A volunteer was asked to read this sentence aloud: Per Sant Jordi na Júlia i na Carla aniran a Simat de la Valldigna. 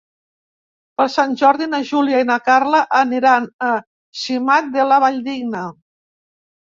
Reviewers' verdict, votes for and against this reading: accepted, 2, 0